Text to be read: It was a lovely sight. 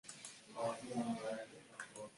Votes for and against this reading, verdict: 0, 2, rejected